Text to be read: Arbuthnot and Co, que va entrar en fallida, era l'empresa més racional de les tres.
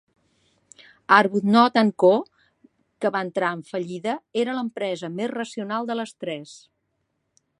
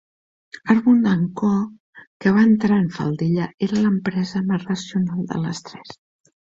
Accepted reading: first